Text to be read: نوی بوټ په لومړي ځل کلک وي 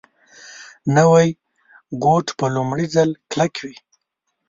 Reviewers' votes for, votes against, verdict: 1, 2, rejected